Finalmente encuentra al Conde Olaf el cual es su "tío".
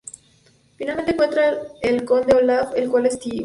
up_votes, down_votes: 0, 2